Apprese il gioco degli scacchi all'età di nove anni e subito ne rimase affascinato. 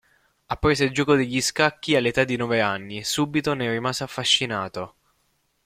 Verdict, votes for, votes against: accepted, 2, 1